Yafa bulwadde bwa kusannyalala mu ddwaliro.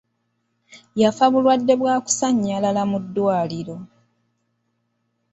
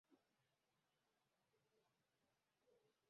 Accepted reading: first